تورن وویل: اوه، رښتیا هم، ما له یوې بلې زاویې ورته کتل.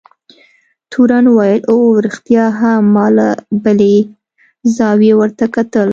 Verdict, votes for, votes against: accepted, 2, 0